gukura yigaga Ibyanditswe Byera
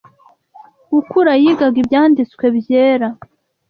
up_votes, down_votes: 2, 0